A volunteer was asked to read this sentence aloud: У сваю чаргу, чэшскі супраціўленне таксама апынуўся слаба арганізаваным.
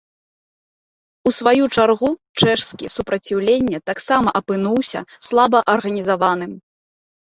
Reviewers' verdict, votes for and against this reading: accepted, 2, 0